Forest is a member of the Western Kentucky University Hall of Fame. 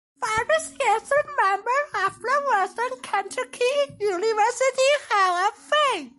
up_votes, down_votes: 2, 1